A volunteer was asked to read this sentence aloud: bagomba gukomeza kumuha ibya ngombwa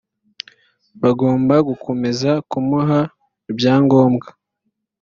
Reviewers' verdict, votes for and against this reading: accepted, 2, 0